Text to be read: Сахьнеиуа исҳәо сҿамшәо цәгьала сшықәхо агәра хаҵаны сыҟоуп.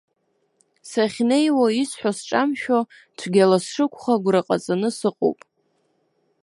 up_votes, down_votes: 1, 2